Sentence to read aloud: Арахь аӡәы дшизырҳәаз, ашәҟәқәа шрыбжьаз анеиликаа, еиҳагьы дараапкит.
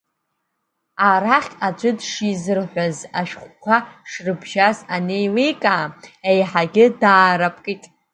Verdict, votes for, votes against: accepted, 2, 0